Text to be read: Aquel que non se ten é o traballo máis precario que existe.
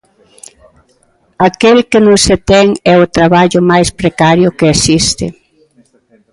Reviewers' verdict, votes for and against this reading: rejected, 1, 2